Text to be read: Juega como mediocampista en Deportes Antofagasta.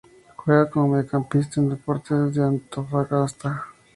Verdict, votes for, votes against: rejected, 0, 4